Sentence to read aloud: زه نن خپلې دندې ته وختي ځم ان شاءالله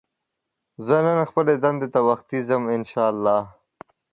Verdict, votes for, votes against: accepted, 2, 0